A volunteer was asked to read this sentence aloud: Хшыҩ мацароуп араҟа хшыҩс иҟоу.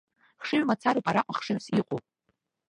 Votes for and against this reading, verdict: 0, 2, rejected